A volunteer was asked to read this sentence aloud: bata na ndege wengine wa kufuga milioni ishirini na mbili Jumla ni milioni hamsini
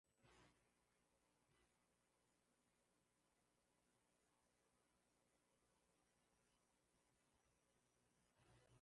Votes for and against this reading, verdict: 0, 2, rejected